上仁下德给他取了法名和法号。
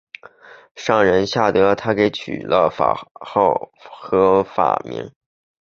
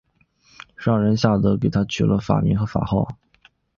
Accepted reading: second